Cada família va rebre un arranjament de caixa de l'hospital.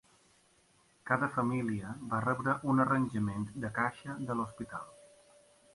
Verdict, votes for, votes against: accepted, 3, 0